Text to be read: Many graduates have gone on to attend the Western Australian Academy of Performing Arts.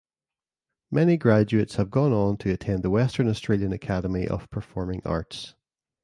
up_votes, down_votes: 2, 0